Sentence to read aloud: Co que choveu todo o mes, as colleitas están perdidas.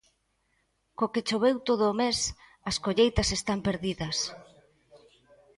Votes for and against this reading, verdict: 2, 0, accepted